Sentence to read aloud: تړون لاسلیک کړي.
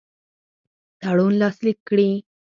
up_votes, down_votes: 2, 4